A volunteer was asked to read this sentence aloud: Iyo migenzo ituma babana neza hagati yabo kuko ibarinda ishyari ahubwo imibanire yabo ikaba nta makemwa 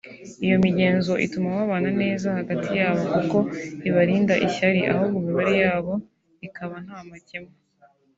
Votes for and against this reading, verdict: 0, 2, rejected